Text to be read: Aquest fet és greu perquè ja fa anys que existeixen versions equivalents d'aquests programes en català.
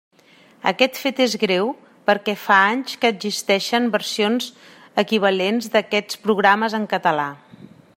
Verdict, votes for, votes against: rejected, 1, 2